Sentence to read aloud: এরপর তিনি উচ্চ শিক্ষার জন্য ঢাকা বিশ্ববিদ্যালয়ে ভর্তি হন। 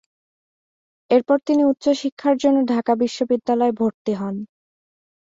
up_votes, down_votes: 2, 0